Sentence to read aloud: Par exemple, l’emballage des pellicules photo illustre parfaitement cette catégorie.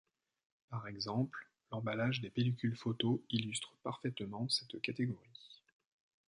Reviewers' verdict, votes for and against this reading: accepted, 2, 0